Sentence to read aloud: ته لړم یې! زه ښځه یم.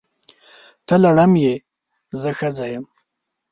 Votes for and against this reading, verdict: 2, 0, accepted